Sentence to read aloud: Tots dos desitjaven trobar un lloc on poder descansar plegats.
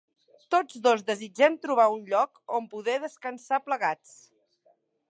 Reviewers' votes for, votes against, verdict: 0, 2, rejected